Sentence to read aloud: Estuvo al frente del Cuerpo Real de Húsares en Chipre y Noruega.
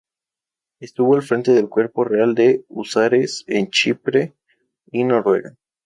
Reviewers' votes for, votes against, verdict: 2, 2, rejected